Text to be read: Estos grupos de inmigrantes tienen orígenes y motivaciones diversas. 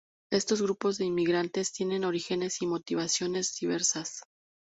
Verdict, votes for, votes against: accepted, 2, 0